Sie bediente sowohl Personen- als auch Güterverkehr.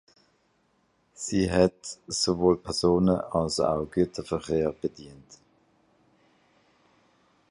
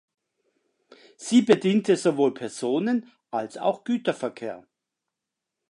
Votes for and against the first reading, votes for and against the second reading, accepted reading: 0, 2, 2, 0, second